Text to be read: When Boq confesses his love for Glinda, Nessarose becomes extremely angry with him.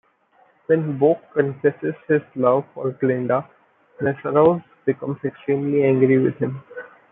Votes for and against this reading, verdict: 2, 0, accepted